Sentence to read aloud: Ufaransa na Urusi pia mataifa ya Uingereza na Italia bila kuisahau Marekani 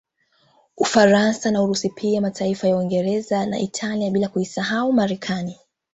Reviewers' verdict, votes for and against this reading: rejected, 1, 2